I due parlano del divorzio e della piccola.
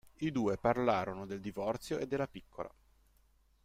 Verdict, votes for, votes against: rejected, 1, 2